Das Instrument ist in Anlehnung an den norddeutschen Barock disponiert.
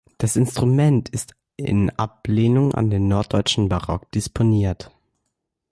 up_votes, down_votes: 0, 2